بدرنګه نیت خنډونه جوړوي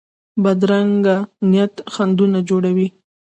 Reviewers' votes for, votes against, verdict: 2, 0, accepted